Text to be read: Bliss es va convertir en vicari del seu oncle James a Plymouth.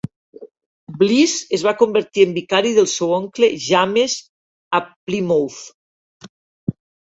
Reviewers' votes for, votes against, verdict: 0, 2, rejected